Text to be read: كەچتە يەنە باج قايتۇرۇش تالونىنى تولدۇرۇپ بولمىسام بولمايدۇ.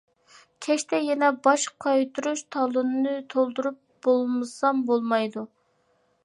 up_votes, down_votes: 2, 0